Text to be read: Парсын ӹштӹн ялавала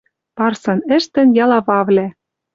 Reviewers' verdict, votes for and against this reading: rejected, 0, 2